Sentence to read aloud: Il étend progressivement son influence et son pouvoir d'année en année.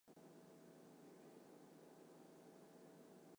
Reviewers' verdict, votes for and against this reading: rejected, 0, 2